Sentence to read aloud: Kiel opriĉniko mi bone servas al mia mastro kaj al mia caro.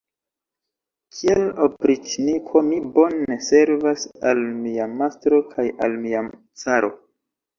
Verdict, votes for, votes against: accepted, 2, 0